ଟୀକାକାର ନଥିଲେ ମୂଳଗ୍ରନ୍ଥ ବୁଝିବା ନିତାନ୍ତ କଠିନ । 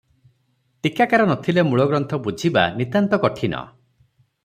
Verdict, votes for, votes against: accepted, 3, 0